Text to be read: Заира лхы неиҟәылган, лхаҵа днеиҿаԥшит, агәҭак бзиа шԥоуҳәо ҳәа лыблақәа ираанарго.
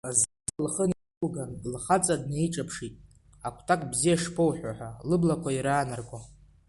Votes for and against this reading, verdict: 2, 0, accepted